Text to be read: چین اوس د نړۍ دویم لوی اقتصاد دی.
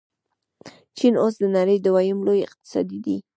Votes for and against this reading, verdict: 0, 2, rejected